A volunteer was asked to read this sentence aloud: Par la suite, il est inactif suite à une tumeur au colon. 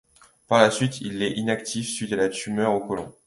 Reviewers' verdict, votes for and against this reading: rejected, 1, 2